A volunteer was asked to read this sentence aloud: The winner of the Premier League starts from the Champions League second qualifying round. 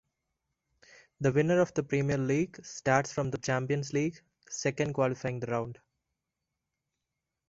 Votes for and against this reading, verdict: 1, 2, rejected